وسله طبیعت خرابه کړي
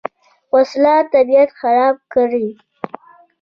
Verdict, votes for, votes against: accepted, 2, 0